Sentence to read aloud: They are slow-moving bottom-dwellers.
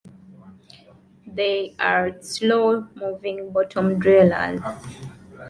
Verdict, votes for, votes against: rejected, 1, 2